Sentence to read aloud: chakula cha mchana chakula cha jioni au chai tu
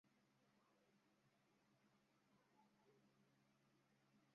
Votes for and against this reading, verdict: 0, 2, rejected